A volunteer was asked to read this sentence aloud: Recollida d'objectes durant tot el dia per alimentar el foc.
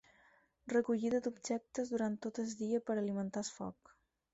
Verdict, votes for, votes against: rejected, 2, 4